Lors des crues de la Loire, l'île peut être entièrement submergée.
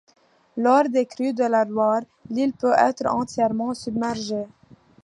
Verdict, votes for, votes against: accepted, 2, 0